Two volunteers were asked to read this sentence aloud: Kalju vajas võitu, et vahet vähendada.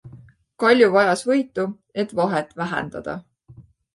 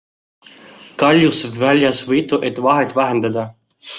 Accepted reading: first